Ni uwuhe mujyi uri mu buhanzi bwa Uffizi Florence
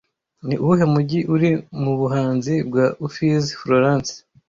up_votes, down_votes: 1, 2